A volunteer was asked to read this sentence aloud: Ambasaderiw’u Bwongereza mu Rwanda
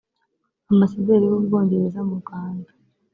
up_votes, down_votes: 2, 0